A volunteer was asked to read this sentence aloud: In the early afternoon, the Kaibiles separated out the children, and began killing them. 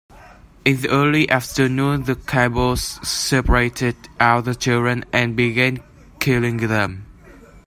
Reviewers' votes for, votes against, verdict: 1, 2, rejected